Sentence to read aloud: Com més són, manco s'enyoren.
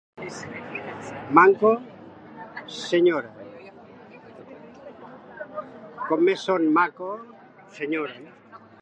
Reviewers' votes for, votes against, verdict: 0, 2, rejected